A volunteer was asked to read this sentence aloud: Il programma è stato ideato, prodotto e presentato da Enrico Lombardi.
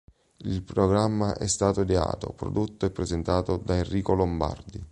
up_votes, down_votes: 2, 0